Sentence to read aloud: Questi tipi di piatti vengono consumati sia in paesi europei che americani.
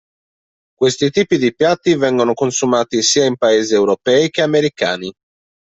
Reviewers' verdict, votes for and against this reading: accepted, 2, 0